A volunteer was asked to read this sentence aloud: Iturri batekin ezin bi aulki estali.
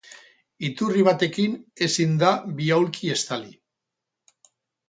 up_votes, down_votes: 0, 4